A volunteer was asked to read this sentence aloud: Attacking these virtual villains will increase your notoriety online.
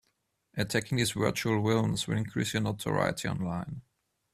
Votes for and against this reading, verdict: 0, 2, rejected